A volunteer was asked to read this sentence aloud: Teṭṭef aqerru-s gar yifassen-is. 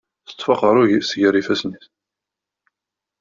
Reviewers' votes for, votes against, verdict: 2, 0, accepted